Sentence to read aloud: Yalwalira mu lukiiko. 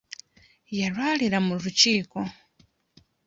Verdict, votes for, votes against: accepted, 2, 0